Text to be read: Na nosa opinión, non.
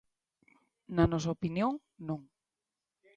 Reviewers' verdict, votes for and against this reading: accepted, 2, 0